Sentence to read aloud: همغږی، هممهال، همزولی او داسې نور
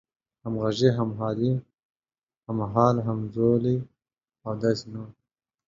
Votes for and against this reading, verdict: 1, 2, rejected